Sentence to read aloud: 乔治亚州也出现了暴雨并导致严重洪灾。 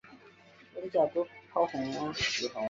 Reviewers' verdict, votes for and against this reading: rejected, 0, 4